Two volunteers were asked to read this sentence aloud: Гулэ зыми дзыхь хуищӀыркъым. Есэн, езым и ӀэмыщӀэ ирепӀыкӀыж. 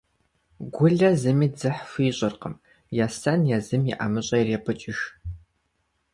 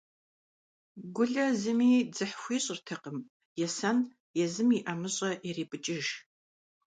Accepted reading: first